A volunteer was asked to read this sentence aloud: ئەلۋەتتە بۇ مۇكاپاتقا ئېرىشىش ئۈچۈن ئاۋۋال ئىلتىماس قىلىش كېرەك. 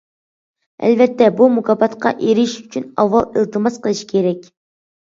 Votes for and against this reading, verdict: 2, 0, accepted